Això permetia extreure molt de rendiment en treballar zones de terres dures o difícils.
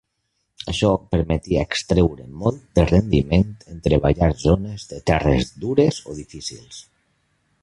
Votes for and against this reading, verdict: 0, 2, rejected